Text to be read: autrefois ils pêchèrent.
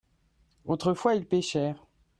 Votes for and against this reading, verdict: 1, 2, rejected